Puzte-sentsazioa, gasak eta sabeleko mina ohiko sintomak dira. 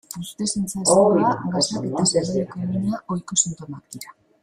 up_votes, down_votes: 0, 2